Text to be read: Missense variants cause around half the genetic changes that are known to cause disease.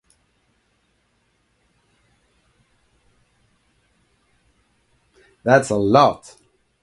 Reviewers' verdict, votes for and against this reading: rejected, 0, 2